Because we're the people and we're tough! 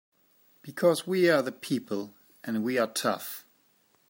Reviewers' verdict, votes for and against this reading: rejected, 0, 2